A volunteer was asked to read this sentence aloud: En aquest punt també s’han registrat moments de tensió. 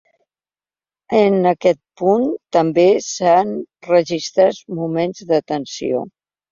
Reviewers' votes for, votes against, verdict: 0, 2, rejected